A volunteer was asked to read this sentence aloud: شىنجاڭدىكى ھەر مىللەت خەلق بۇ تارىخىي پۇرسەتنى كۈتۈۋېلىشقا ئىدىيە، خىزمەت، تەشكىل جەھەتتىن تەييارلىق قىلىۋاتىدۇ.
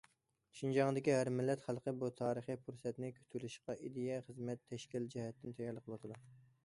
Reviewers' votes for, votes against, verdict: 2, 0, accepted